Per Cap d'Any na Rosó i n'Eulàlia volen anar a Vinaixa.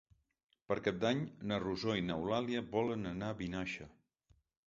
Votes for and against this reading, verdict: 6, 0, accepted